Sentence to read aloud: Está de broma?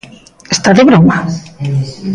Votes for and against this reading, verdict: 2, 0, accepted